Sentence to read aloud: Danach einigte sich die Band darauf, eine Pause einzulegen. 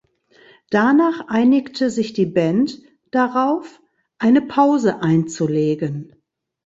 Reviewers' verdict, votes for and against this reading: accepted, 3, 0